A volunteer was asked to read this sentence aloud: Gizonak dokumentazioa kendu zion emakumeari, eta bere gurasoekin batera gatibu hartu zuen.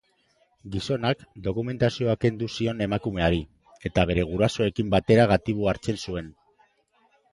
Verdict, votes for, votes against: rejected, 1, 2